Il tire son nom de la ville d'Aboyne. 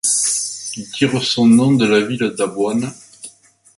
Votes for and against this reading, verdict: 1, 2, rejected